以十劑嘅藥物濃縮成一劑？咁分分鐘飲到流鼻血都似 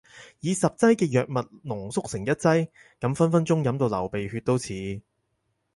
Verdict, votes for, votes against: accepted, 4, 2